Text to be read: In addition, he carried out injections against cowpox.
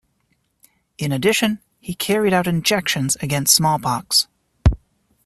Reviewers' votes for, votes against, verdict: 0, 2, rejected